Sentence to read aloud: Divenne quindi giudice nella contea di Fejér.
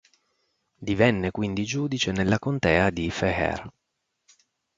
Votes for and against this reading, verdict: 6, 2, accepted